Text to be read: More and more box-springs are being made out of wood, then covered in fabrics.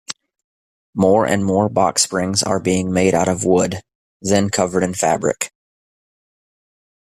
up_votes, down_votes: 1, 2